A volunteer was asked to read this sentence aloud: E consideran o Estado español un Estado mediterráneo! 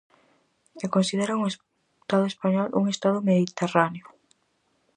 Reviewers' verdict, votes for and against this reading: rejected, 2, 2